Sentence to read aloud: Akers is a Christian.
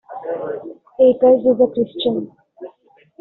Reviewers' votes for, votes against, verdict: 2, 1, accepted